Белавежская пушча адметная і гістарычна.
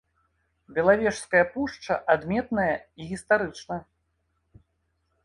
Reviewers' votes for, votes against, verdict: 2, 0, accepted